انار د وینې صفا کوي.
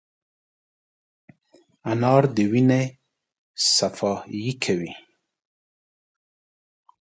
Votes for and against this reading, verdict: 1, 2, rejected